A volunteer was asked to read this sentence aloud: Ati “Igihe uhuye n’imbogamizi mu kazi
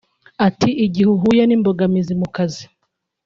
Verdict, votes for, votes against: accepted, 2, 0